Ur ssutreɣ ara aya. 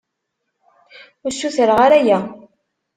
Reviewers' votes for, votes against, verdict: 3, 0, accepted